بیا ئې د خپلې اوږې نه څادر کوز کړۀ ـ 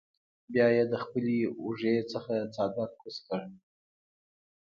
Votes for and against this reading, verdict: 2, 0, accepted